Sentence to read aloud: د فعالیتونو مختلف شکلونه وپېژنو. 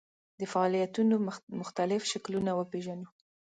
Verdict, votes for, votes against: rejected, 0, 2